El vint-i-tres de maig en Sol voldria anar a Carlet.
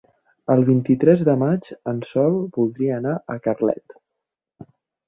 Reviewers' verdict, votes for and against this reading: accepted, 4, 0